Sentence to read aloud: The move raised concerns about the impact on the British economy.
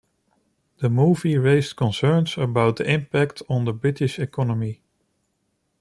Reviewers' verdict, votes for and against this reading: rejected, 1, 2